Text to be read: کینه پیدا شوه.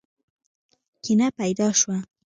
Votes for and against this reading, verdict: 1, 2, rejected